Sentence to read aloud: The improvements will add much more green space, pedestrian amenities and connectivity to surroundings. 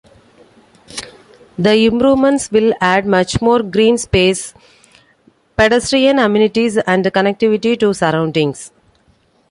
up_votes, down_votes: 2, 0